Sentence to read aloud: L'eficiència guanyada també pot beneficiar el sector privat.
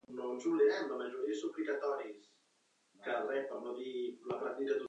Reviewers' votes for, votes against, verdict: 0, 2, rejected